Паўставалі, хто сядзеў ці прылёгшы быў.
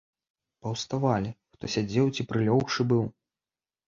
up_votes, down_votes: 2, 0